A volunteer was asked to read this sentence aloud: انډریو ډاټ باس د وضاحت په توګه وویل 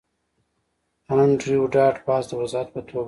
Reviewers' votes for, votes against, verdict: 2, 1, accepted